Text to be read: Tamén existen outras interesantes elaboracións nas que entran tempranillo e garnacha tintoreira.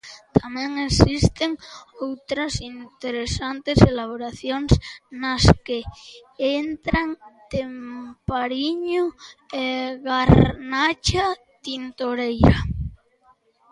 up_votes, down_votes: 0, 2